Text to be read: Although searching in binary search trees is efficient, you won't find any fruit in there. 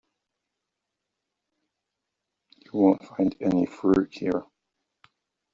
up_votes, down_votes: 0, 2